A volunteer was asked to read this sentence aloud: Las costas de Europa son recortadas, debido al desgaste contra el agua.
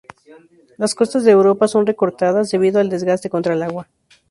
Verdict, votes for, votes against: accepted, 2, 0